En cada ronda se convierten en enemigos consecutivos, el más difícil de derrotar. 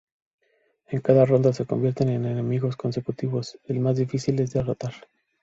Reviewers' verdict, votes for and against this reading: accepted, 2, 0